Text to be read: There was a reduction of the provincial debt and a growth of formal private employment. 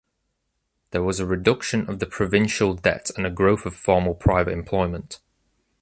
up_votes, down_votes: 2, 0